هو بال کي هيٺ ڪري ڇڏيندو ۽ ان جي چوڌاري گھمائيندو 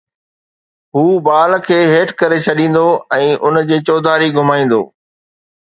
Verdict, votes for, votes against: accepted, 2, 0